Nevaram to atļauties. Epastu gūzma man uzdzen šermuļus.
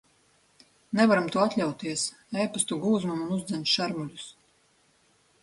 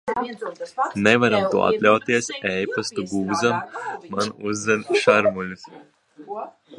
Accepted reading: first